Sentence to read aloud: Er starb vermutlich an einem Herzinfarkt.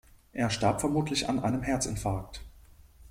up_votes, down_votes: 2, 1